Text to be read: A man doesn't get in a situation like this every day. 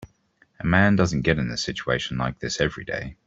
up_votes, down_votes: 2, 0